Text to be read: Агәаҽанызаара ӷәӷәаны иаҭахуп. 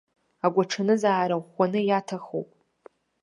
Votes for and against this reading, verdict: 2, 0, accepted